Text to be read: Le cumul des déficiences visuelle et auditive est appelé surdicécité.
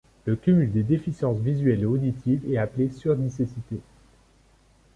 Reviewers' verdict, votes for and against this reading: accepted, 2, 1